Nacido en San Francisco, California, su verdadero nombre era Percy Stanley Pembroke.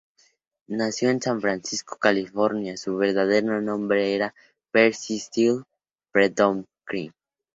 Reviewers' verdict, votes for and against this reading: rejected, 0, 4